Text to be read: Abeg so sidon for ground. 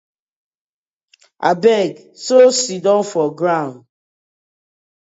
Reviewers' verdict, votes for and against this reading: rejected, 0, 2